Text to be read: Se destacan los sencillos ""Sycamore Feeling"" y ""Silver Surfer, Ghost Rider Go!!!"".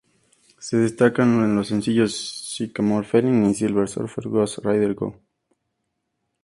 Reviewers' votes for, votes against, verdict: 2, 0, accepted